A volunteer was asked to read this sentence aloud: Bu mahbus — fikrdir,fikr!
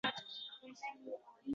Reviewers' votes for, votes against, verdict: 0, 3, rejected